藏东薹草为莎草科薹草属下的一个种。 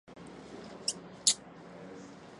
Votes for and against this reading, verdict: 0, 4, rejected